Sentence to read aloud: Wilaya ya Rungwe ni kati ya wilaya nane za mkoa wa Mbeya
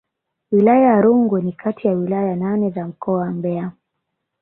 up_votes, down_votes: 4, 1